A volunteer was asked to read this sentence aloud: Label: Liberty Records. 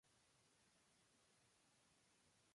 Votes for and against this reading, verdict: 0, 2, rejected